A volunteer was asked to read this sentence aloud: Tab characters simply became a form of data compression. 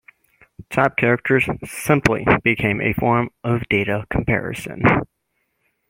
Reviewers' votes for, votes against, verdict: 0, 2, rejected